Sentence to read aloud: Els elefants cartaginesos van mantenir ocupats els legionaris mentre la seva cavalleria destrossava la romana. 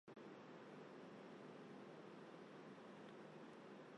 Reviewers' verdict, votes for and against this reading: rejected, 0, 2